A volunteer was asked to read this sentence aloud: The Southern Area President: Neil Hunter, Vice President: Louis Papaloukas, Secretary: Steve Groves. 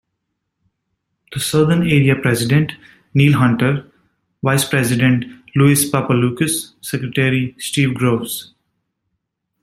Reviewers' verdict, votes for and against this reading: accepted, 2, 0